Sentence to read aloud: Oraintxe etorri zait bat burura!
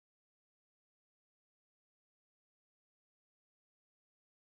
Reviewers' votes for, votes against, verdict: 0, 3, rejected